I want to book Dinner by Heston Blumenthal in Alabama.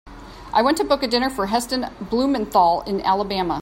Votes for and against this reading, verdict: 1, 2, rejected